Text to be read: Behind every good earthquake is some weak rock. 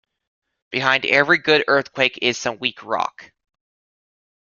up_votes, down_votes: 2, 0